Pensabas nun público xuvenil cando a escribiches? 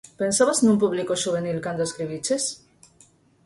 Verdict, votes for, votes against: accepted, 4, 0